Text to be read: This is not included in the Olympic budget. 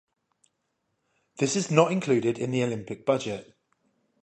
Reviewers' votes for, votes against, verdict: 5, 0, accepted